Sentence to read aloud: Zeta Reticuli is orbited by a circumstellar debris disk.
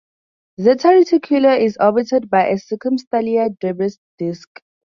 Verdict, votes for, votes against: accepted, 2, 0